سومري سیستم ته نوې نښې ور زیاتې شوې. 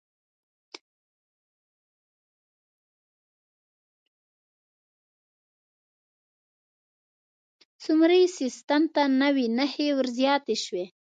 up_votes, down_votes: 1, 2